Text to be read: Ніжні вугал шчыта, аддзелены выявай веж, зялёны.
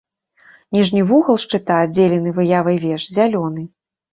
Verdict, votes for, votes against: accepted, 2, 0